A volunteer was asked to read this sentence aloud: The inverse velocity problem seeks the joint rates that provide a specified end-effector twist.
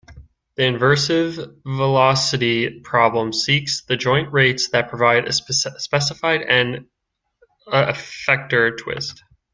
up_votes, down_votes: 1, 2